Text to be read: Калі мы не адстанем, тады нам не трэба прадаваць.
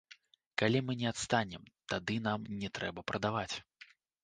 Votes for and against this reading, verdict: 2, 0, accepted